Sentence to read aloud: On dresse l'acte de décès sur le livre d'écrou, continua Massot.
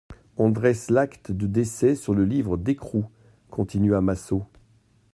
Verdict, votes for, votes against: accepted, 2, 0